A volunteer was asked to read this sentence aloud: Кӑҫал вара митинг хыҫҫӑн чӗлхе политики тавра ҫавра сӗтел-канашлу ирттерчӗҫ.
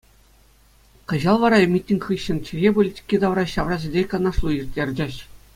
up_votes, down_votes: 2, 0